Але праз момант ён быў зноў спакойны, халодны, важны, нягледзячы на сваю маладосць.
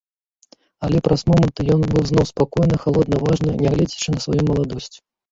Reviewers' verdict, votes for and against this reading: rejected, 1, 2